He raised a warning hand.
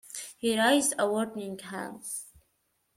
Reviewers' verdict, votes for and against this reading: rejected, 0, 2